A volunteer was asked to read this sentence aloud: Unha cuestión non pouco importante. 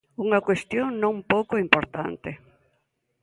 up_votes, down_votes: 2, 0